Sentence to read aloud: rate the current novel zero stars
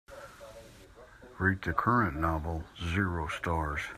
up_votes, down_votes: 2, 0